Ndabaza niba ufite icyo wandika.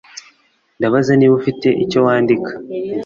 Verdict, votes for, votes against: accepted, 2, 0